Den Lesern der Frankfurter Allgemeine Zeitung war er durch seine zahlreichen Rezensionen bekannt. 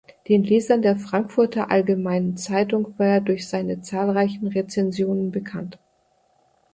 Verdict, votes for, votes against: rejected, 0, 2